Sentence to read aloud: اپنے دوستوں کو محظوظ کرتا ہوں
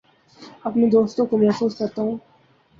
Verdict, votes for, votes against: accepted, 2, 0